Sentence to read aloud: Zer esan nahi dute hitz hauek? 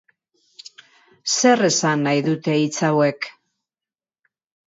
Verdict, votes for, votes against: accepted, 2, 0